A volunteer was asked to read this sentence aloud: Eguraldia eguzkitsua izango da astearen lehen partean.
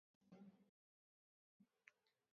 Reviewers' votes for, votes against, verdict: 0, 2, rejected